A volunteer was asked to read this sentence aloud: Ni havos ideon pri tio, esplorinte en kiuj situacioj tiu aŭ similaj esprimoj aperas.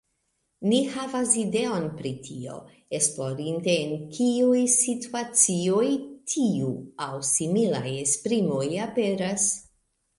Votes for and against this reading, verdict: 2, 0, accepted